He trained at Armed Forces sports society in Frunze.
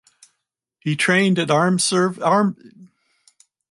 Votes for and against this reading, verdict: 0, 4, rejected